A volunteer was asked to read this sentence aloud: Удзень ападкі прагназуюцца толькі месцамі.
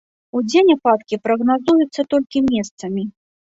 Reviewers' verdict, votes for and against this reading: accepted, 2, 0